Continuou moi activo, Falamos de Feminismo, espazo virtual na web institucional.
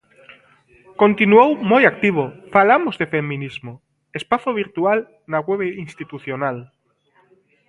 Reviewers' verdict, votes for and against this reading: rejected, 0, 2